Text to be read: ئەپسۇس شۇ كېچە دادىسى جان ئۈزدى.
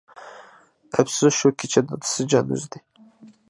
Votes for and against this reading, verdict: 2, 0, accepted